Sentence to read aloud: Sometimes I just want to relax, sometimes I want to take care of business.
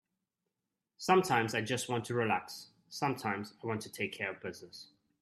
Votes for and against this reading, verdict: 2, 0, accepted